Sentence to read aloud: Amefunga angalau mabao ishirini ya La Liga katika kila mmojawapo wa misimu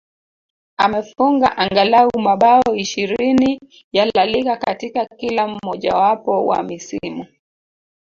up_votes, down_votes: 1, 2